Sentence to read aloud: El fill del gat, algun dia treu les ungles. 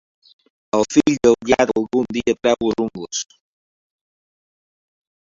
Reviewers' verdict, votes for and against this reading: rejected, 1, 2